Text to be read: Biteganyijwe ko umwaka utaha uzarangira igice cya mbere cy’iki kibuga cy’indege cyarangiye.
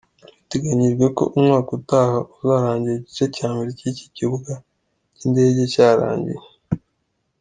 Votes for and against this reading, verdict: 2, 0, accepted